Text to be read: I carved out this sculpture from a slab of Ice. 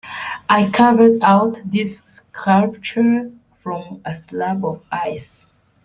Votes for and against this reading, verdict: 1, 2, rejected